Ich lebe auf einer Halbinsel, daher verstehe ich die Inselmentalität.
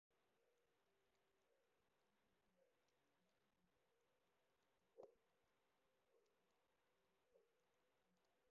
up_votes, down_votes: 0, 2